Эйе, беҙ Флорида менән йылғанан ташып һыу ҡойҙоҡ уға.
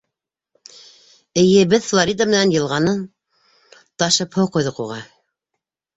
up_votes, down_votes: 3, 2